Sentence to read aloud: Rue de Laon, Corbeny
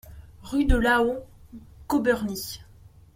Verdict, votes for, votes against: rejected, 0, 2